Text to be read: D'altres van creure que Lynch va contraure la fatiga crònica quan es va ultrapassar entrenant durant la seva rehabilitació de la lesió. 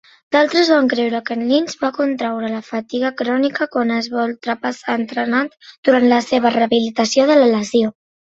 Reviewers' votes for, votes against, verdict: 2, 0, accepted